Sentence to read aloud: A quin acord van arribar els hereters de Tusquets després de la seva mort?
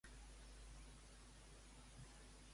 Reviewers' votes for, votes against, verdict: 0, 2, rejected